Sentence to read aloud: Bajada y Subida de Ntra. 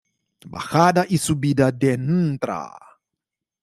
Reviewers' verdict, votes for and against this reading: accepted, 2, 0